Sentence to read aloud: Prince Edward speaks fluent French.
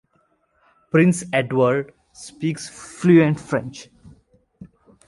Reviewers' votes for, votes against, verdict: 2, 0, accepted